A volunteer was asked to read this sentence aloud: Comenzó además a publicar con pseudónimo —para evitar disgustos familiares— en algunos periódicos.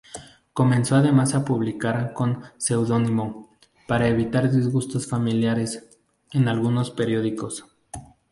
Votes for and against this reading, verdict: 0, 2, rejected